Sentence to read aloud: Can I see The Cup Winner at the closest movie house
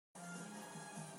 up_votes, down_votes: 0, 2